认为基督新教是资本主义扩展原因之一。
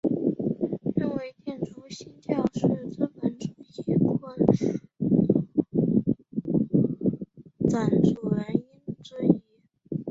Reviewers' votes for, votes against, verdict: 0, 2, rejected